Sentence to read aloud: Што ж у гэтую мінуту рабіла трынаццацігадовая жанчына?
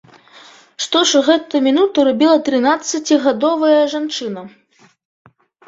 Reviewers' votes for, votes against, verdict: 2, 0, accepted